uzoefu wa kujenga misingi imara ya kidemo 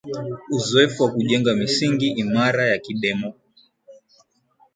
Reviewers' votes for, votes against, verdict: 5, 1, accepted